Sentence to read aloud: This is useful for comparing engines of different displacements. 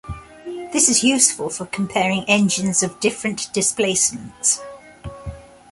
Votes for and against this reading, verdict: 2, 0, accepted